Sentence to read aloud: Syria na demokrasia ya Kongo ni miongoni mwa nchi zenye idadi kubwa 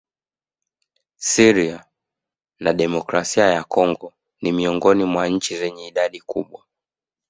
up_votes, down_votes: 3, 0